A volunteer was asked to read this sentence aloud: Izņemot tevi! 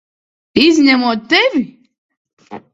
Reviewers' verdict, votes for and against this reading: accepted, 2, 0